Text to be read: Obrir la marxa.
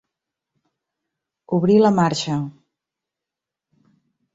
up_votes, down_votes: 3, 0